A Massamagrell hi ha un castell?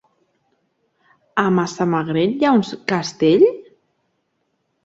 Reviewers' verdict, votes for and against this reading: rejected, 1, 2